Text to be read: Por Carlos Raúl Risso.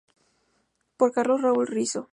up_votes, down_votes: 2, 0